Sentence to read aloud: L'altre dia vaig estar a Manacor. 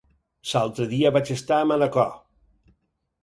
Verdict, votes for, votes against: rejected, 0, 4